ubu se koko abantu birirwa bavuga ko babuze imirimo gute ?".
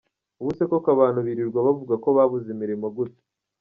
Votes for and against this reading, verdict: 1, 2, rejected